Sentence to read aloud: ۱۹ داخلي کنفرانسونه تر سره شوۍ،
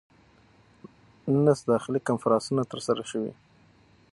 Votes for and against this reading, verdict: 0, 2, rejected